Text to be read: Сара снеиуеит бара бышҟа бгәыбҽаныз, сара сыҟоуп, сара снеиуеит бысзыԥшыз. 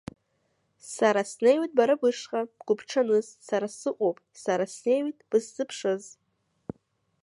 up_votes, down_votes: 2, 0